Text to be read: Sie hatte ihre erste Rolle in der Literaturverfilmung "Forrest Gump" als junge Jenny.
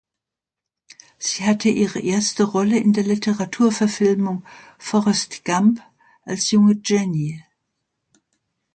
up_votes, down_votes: 2, 0